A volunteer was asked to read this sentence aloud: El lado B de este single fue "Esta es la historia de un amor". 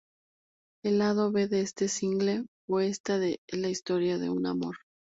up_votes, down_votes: 2, 2